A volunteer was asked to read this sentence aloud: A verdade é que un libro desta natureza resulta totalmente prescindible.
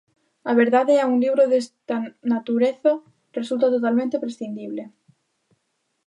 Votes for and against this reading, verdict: 0, 2, rejected